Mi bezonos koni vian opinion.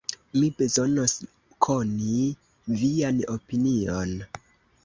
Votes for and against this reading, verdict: 0, 2, rejected